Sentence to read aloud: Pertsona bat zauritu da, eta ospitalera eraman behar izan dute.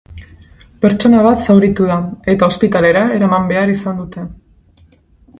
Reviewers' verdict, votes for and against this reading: accepted, 2, 0